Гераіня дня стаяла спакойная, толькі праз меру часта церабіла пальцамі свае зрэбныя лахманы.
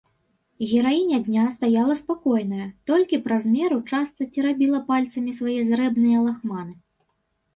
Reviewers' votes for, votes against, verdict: 1, 2, rejected